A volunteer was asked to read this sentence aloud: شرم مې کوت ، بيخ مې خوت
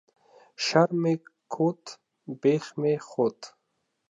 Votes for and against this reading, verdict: 0, 2, rejected